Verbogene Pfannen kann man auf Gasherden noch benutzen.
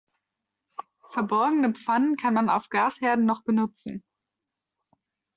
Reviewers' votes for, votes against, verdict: 0, 2, rejected